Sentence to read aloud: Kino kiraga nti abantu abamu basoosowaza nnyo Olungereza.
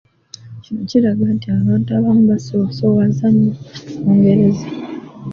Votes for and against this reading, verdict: 2, 1, accepted